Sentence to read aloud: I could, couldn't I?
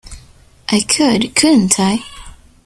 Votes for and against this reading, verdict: 2, 0, accepted